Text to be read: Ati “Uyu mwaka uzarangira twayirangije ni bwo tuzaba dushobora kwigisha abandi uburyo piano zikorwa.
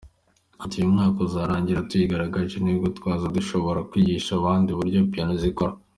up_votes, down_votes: 2, 0